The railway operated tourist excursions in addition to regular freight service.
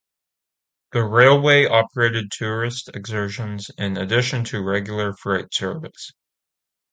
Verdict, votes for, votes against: rejected, 0, 2